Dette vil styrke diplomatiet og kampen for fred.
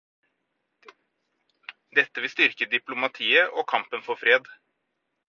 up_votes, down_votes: 4, 0